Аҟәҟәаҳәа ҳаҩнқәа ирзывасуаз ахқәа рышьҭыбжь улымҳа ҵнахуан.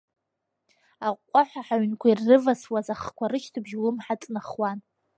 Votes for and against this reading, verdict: 0, 2, rejected